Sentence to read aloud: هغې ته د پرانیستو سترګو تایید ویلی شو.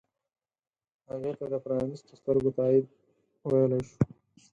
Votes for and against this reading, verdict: 4, 0, accepted